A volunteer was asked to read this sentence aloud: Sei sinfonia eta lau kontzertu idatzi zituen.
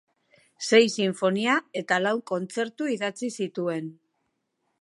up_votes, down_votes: 2, 0